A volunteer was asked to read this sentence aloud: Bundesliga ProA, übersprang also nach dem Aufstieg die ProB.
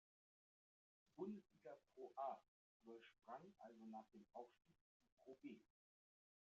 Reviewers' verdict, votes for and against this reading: accepted, 2, 1